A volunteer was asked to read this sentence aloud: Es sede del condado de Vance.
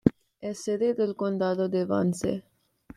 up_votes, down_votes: 2, 0